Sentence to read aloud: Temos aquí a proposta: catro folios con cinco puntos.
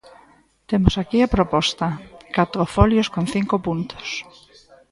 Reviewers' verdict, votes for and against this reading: rejected, 1, 2